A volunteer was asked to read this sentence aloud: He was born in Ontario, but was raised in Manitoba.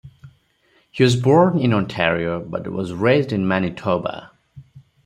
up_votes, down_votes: 0, 4